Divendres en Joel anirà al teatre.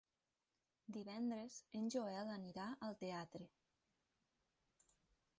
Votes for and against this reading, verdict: 1, 2, rejected